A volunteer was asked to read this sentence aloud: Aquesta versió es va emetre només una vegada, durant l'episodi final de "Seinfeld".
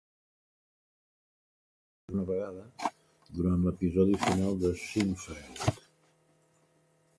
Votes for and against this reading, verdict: 1, 2, rejected